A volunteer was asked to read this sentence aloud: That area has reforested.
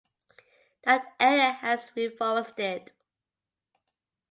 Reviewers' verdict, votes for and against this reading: accepted, 2, 1